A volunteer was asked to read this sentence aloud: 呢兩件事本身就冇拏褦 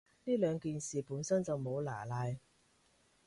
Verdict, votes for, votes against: rejected, 1, 2